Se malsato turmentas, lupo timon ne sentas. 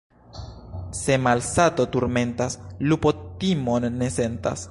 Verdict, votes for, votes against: rejected, 1, 2